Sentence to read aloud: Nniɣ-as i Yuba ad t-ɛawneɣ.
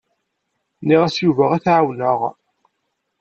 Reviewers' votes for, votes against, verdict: 2, 0, accepted